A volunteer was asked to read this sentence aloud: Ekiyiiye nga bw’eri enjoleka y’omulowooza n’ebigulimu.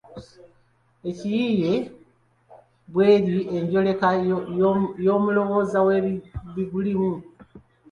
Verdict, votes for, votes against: rejected, 1, 3